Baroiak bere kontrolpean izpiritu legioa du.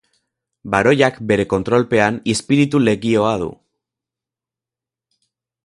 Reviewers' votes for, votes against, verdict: 4, 2, accepted